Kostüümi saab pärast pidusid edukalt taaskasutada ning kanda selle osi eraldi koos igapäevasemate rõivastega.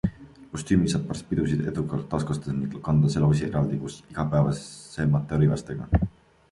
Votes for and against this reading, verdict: 2, 1, accepted